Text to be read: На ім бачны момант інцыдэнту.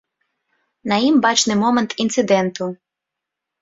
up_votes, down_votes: 2, 0